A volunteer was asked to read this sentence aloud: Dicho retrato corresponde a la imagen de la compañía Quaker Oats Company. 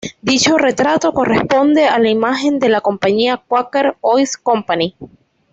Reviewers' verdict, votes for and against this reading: rejected, 0, 2